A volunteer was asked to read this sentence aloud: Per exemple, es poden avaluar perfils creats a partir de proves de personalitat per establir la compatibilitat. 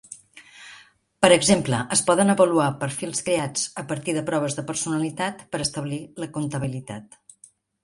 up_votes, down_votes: 0, 2